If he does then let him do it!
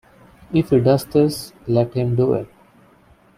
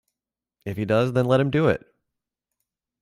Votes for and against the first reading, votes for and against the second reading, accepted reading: 0, 2, 2, 0, second